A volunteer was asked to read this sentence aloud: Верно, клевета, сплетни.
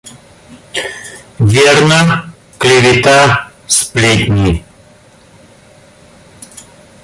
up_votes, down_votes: 0, 2